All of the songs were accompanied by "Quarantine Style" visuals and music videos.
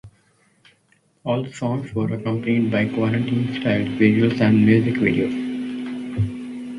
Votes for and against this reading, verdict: 2, 0, accepted